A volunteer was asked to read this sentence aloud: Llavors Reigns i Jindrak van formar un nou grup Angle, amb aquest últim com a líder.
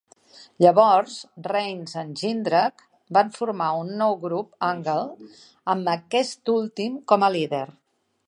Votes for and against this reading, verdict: 1, 2, rejected